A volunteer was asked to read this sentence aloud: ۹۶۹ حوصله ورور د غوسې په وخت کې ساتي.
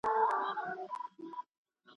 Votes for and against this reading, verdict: 0, 2, rejected